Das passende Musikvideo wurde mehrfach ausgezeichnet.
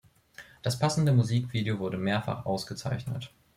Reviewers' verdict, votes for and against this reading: accepted, 2, 0